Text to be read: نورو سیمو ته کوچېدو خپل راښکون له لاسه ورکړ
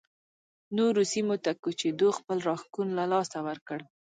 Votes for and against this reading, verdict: 1, 2, rejected